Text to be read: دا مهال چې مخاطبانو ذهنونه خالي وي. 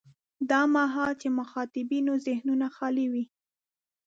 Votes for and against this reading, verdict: 1, 2, rejected